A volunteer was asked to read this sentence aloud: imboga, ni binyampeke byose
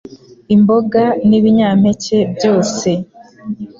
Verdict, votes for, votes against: accepted, 2, 0